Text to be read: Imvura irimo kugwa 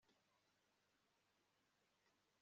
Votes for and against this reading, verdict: 2, 3, rejected